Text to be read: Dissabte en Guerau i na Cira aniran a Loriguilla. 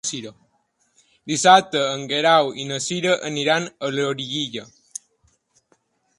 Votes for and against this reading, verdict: 0, 2, rejected